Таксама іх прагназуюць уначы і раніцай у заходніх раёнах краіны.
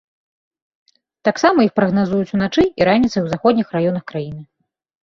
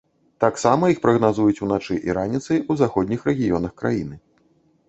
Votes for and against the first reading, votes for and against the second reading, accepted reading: 2, 0, 1, 2, first